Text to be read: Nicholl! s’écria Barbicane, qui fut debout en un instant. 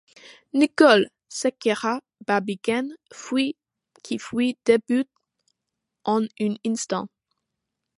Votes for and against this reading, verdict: 2, 0, accepted